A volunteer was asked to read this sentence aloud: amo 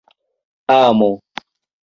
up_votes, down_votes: 2, 1